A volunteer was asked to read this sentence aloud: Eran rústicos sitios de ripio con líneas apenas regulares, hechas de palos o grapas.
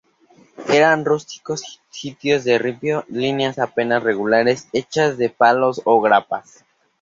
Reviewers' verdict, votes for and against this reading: accepted, 2, 0